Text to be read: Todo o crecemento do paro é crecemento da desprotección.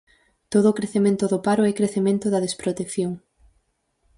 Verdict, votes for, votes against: accepted, 4, 0